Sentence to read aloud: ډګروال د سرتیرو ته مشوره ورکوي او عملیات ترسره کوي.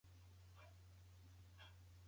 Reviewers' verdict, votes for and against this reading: rejected, 0, 2